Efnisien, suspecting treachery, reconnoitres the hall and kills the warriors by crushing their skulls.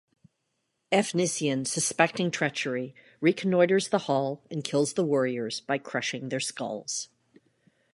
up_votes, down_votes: 2, 0